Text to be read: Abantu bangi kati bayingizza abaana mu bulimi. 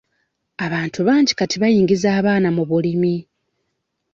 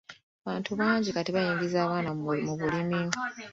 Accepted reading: second